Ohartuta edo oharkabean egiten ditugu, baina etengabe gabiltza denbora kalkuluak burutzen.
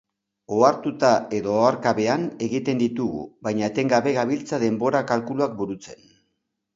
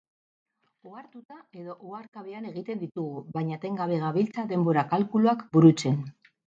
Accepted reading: first